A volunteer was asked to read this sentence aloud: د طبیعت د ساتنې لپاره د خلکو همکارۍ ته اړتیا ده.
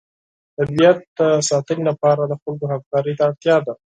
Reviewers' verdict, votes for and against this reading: accepted, 4, 0